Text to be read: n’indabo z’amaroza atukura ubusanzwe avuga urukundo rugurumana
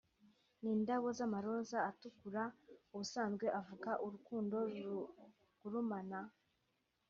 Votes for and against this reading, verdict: 2, 0, accepted